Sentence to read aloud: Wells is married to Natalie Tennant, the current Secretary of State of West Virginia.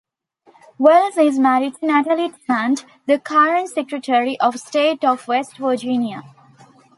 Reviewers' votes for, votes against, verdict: 2, 0, accepted